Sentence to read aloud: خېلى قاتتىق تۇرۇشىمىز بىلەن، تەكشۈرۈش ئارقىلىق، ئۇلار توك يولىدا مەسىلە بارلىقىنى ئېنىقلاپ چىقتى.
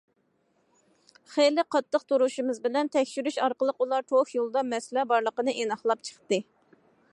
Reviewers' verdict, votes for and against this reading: accepted, 2, 0